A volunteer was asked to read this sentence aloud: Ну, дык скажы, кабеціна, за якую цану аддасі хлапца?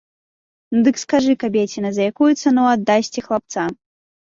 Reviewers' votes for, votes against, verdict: 0, 2, rejected